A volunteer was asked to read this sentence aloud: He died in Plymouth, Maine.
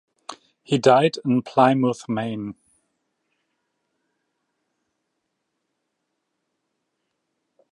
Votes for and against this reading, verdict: 1, 2, rejected